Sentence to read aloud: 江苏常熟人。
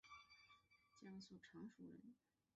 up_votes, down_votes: 7, 2